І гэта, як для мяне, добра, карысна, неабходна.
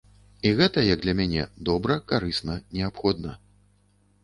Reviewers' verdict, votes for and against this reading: accepted, 2, 0